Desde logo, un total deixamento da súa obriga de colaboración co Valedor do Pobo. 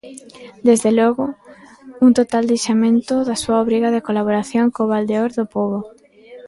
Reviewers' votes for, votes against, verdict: 0, 2, rejected